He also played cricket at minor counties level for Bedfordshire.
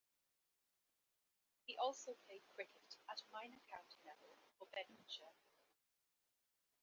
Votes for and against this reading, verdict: 2, 1, accepted